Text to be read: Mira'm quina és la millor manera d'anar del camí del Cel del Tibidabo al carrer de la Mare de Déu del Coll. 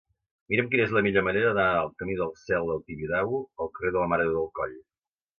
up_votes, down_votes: 2, 0